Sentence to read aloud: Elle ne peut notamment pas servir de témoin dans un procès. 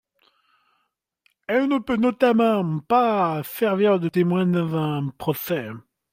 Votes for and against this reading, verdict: 2, 0, accepted